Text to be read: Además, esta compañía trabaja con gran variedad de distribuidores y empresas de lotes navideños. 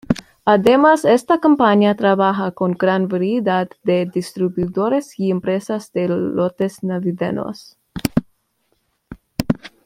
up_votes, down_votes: 2, 1